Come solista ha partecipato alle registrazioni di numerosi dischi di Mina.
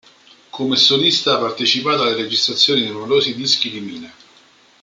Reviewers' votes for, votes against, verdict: 0, 2, rejected